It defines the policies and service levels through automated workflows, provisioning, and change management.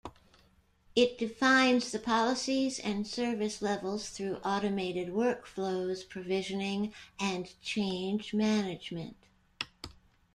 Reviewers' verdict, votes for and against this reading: rejected, 1, 2